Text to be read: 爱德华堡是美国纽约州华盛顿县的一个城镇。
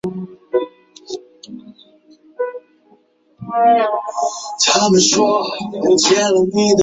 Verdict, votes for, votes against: rejected, 0, 2